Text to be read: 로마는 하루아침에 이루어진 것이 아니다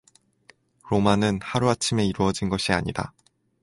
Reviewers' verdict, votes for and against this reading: accepted, 2, 0